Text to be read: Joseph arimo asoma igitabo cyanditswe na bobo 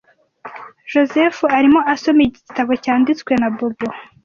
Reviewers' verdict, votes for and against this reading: accepted, 3, 0